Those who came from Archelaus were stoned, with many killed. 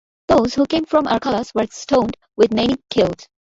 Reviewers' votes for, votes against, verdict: 1, 2, rejected